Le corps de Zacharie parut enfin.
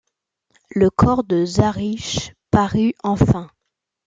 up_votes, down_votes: 0, 2